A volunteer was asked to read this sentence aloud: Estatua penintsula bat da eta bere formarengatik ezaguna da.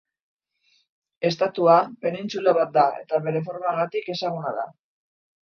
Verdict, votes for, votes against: rejected, 0, 3